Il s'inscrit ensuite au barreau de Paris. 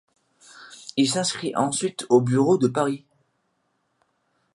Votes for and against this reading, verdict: 1, 2, rejected